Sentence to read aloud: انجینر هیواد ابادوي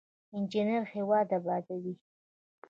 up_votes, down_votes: 1, 2